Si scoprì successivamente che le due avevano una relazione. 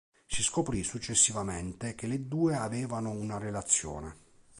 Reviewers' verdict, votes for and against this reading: accepted, 2, 0